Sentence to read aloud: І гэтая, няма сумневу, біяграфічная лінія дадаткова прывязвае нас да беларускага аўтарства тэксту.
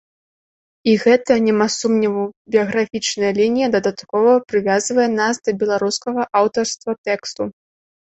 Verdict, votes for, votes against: rejected, 2, 3